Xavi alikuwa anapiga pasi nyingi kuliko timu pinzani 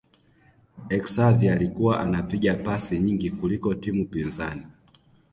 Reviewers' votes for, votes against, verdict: 2, 0, accepted